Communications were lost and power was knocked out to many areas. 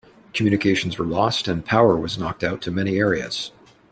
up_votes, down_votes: 2, 0